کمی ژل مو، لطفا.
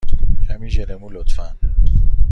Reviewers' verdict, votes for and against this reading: accepted, 2, 0